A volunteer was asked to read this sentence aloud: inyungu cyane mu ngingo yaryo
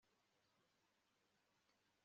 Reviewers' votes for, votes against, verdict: 1, 2, rejected